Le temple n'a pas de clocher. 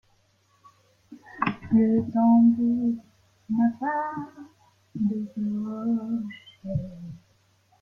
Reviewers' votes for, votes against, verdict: 0, 2, rejected